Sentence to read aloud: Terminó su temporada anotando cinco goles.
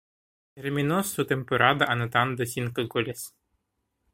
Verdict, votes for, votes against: rejected, 0, 2